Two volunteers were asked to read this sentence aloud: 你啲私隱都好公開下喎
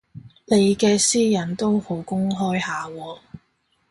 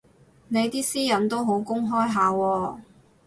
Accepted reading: second